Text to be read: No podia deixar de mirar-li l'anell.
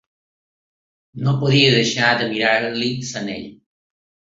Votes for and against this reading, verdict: 0, 2, rejected